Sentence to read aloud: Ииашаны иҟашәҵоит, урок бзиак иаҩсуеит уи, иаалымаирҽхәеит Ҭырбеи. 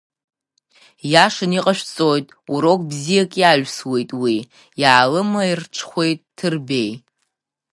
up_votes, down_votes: 2, 0